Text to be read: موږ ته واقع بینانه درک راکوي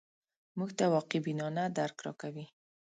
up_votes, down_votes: 2, 0